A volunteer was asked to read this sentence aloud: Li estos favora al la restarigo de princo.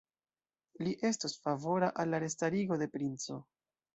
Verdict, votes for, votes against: rejected, 1, 2